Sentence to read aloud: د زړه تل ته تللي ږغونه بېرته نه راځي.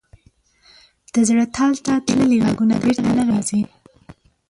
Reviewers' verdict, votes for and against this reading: accepted, 2, 0